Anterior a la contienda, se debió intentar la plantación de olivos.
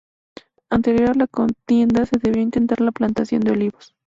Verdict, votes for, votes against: accepted, 2, 0